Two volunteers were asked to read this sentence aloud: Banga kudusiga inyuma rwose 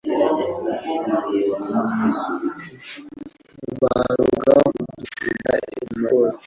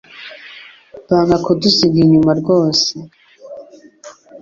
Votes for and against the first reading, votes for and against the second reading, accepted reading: 1, 2, 2, 0, second